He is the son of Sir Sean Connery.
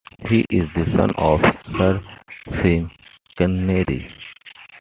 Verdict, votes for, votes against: rejected, 1, 2